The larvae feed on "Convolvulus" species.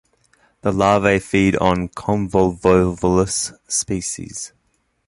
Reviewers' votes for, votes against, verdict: 1, 2, rejected